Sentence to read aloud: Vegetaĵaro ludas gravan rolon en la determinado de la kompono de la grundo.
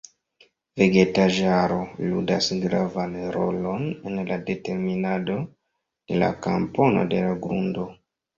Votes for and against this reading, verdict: 0, 3, rejected